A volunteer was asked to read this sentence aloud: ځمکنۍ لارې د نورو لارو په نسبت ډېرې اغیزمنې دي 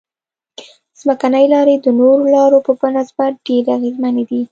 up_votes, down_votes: 2, 0